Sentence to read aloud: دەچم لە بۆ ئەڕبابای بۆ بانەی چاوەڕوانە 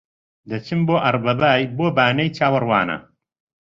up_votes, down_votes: 1, 2